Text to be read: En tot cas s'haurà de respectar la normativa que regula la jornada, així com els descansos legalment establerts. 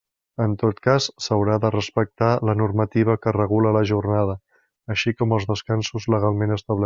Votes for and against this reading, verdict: 1, 2, rejected